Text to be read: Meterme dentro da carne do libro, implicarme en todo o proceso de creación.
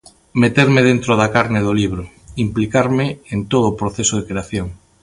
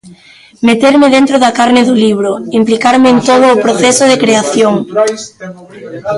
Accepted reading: first